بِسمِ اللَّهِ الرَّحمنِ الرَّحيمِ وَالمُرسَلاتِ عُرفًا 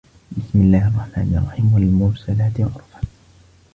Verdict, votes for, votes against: accepted, 2, 0